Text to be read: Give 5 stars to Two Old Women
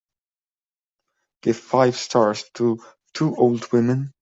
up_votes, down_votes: 0, 2